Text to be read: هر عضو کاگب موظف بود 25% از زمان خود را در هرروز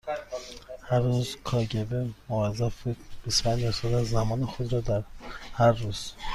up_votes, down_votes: 0, 2